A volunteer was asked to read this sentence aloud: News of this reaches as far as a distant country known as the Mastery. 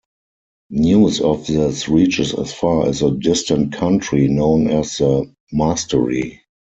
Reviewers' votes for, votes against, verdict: 2, 4, rejected